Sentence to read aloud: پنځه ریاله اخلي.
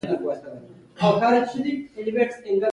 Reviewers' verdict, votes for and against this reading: rejected, 0, 2